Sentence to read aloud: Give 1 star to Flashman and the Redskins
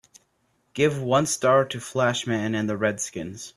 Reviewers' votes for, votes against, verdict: 0, 2, rejected